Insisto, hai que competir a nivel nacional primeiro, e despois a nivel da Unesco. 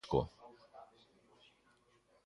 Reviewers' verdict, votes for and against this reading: rejected, 0, 2